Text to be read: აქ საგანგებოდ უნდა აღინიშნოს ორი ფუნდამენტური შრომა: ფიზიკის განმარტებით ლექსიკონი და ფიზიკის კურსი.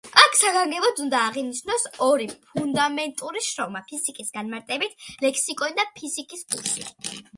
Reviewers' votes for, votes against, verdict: 2, 0, accepted